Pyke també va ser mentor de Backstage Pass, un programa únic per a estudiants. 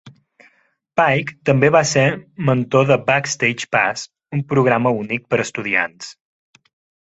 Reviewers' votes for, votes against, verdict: 3, 0, accepted